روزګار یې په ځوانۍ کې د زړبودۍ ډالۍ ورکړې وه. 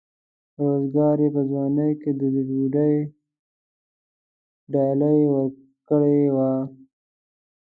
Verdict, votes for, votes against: rejected, 1, 2